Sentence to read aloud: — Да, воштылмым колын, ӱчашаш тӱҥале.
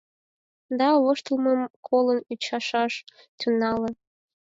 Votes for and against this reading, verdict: 2, 4, rejected